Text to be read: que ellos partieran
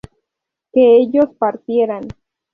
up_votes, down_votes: 4, 0